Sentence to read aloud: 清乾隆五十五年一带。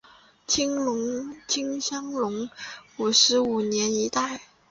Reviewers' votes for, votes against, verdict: 1, 2, rejected